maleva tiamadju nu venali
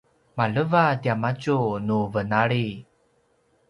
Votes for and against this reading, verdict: 2, 0, accepted